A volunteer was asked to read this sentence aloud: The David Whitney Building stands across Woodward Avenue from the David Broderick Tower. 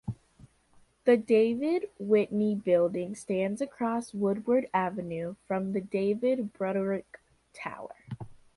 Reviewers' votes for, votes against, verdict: 2, 0, accepted